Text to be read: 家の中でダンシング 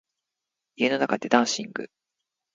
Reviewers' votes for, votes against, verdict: 2, 0, accepted